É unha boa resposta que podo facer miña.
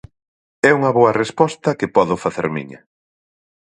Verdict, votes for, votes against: accepted, 4, 0